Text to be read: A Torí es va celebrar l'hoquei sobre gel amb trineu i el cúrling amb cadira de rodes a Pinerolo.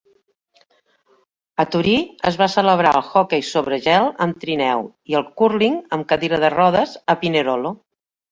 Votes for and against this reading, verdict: 1, 2, rejected